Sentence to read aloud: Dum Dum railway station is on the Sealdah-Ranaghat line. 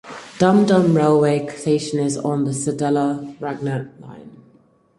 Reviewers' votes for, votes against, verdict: 0, 4, rejected